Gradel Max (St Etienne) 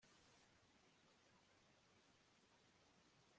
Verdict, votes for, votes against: rejected, 0, 2